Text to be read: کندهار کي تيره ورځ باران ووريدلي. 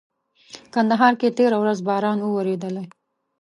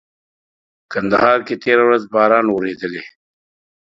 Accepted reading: first